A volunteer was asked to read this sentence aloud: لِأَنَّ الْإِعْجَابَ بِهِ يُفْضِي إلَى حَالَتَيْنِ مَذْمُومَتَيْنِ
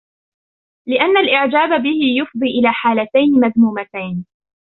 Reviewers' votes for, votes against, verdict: 4, 1, accepted